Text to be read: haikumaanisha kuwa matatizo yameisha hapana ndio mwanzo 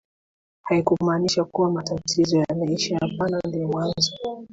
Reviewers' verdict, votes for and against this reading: accepted, 3, 0